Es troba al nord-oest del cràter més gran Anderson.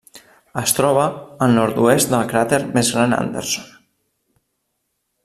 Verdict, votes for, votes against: accepted, 2, 0